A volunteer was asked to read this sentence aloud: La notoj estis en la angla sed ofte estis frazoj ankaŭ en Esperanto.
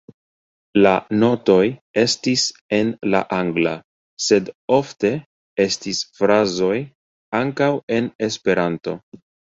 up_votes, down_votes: 1, 2